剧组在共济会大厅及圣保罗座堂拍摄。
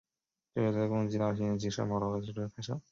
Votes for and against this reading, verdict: 2, 0, accepted